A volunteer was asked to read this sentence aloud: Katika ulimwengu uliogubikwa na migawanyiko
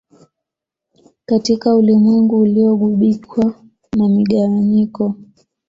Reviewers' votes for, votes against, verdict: 2, 0, accepted